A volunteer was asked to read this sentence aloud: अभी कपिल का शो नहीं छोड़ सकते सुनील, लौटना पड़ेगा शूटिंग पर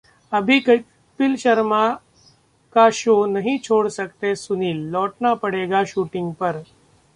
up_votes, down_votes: 0, 2